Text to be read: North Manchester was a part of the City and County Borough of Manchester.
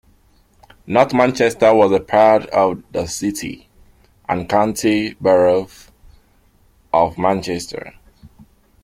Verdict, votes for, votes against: accepted, 2, 1